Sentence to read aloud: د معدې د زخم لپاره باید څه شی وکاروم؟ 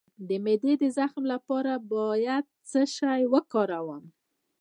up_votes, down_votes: 1, 2